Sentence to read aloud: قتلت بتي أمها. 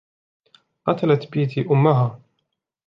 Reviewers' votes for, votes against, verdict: 2, 0, accepted